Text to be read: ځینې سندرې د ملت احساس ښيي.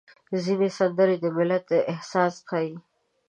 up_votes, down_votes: 1, 2